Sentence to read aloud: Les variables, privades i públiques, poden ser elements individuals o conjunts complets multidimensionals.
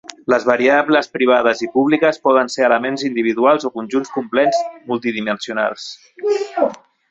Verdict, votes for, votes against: accepted, 2, 0